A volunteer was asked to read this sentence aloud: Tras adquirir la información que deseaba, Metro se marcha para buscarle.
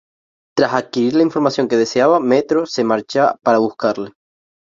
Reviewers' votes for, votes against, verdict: 0, 2, rejected